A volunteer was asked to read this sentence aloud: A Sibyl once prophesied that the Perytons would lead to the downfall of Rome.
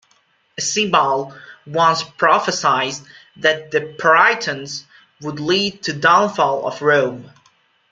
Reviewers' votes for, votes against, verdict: 1, 2, rejected